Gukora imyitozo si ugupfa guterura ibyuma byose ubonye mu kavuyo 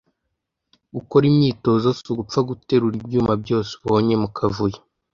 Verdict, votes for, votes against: accepted, 2, 0